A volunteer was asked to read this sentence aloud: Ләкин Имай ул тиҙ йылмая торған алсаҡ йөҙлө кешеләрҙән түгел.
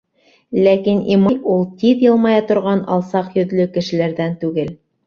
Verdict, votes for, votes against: rejected, 0, 2